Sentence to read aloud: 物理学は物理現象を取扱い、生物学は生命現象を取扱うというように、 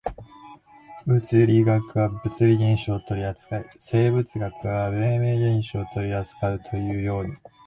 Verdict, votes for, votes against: accepted, 2, 0